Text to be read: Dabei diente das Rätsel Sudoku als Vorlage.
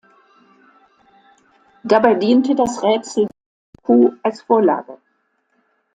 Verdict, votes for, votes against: rejected, 0, 2